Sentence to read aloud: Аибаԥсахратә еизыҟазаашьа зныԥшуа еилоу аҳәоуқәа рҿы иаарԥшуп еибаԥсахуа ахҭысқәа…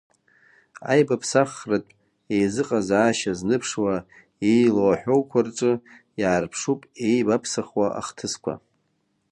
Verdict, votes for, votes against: rejected, 1, 2